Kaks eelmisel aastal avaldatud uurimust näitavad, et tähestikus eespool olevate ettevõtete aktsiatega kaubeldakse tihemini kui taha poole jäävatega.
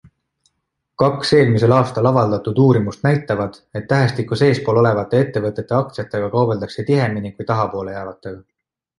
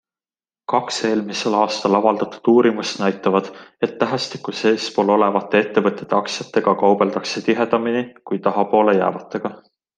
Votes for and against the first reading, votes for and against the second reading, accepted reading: 2, 0, 1, 2, first